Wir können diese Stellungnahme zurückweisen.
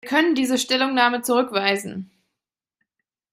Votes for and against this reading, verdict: 1, 2, rejected